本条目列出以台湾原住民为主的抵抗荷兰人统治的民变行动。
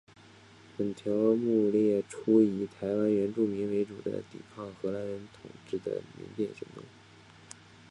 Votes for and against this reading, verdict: 0, 2, rejected